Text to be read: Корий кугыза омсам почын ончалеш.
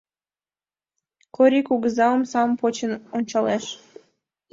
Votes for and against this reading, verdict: 2, 0, accepted